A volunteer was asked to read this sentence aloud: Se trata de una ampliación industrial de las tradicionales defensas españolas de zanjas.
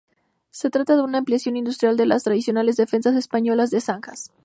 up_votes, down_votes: 4, 0